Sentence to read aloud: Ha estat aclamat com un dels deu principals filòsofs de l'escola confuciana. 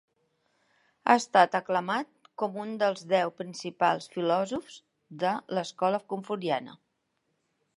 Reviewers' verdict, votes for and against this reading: rejected, 1, 2